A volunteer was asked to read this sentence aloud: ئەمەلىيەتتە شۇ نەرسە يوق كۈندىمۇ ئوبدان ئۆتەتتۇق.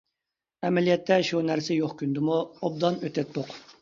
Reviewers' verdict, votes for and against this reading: accepted, 2, 0